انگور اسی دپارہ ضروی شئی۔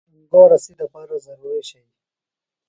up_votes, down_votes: 1, 2